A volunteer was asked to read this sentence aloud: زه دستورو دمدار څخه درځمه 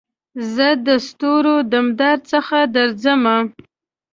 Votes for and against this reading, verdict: 2, 0, accepted